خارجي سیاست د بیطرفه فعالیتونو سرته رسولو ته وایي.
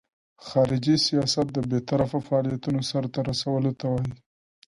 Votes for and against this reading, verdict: 2, 0, accepted